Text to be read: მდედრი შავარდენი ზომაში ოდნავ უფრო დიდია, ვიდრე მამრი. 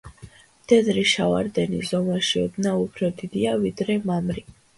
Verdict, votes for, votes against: accepted, 2, 0